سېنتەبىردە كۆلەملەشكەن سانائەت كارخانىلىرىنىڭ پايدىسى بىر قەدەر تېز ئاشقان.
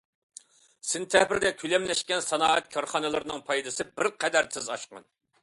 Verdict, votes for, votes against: accepted, 2, 0